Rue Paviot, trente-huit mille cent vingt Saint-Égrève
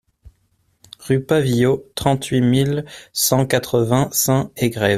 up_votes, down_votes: 0, 2